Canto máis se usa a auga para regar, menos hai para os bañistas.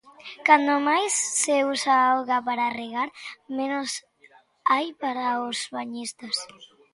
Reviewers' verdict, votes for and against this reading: rejected, 1, 2